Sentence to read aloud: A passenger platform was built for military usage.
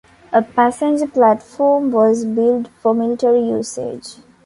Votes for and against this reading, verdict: 2, 0, accepted